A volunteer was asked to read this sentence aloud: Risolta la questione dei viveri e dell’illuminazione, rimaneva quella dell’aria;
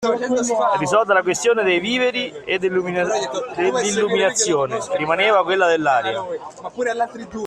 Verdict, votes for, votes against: rejected, 0, 2